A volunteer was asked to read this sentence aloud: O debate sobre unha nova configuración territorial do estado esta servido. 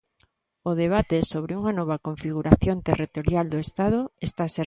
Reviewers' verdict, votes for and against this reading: rejected, 0, 2